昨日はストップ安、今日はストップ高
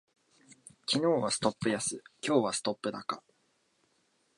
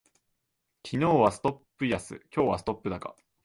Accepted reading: first